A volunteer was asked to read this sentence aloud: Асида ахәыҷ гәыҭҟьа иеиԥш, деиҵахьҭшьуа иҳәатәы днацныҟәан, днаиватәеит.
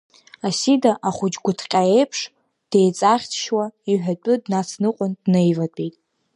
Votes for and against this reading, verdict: 0, 2, rejected